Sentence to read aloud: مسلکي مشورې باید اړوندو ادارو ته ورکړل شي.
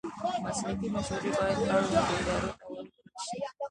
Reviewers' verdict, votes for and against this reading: rejected, 0, 2